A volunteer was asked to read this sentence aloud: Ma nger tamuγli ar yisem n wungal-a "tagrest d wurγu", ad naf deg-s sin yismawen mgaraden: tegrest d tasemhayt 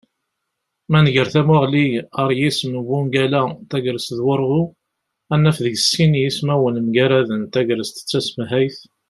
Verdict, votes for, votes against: accepted, 2, 1